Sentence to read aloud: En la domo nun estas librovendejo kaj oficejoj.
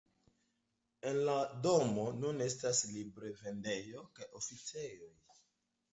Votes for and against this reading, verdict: 2, 1, accepted